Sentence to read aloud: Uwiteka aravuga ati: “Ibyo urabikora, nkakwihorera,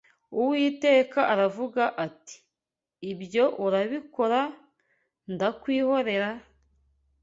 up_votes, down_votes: 1, 2